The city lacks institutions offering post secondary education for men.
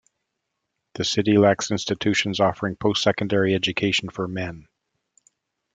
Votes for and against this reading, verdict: 2, 0, accepted